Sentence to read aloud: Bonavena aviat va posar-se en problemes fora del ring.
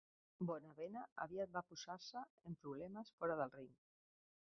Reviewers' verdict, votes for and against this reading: rejected, 0, 3